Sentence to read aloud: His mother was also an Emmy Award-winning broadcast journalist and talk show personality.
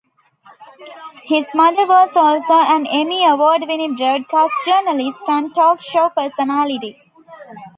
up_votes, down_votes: 1, 2